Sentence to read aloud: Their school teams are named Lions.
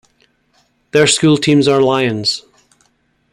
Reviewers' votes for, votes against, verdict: 0, 2, rejected